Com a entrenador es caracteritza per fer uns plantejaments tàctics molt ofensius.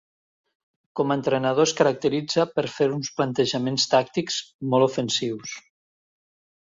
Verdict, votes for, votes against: accepted, 3, 0